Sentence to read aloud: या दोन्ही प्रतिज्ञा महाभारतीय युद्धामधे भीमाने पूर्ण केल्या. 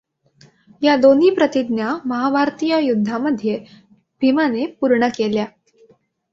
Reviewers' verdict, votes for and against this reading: accepted, 2, 0